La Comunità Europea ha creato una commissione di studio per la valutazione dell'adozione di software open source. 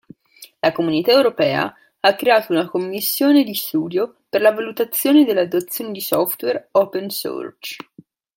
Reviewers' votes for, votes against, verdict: 1, 2, rejected